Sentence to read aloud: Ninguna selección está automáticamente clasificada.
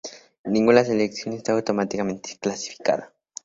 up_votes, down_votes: 2, 0